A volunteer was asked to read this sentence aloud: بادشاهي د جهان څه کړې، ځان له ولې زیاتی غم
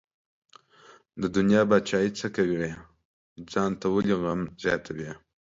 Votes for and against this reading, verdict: 0, 2, rejected